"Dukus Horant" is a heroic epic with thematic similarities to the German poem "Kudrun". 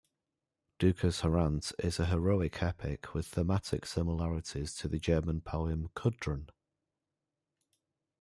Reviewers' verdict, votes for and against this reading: rejected, 1, 2